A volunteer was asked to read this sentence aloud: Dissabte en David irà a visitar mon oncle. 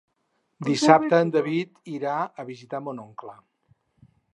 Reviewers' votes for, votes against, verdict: 0, 4, rejected